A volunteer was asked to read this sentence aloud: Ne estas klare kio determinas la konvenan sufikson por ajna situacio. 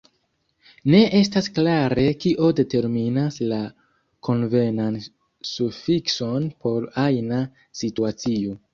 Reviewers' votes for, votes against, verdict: 0, 2, rejected